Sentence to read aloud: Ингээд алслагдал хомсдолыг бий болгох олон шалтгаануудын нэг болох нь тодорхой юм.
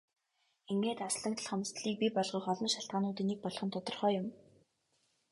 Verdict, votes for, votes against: accepted, 3, 0